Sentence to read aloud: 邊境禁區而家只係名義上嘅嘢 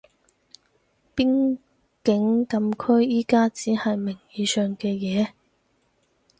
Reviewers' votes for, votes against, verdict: 2, 4, rejected